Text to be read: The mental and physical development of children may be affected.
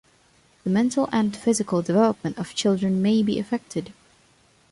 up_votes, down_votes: 2, 0